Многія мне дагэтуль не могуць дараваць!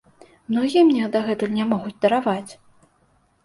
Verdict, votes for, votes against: accepted, 2, 0